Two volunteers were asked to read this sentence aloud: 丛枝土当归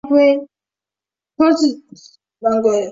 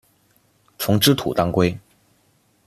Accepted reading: second